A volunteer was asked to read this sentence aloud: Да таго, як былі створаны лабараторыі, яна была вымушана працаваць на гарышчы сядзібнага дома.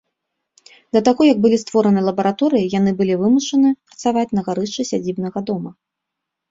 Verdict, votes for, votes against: rejected, 1, 2